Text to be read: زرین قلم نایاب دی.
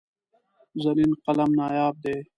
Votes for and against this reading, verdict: 2, 0, accepted